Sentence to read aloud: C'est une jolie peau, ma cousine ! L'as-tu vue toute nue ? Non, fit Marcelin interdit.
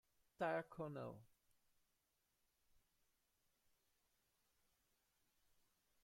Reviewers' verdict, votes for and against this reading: rejected, 0, 2